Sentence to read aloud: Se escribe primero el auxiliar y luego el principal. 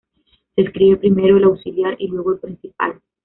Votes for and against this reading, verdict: 2, 0, accepted